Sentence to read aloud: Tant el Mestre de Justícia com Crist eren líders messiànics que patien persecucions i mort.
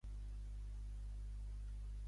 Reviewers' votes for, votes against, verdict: 0, 2, rejected